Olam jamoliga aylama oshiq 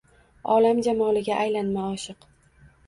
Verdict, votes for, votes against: accepted, 2, 0